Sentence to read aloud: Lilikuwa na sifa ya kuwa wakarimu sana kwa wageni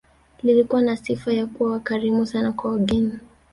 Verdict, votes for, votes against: rejected, 1, 2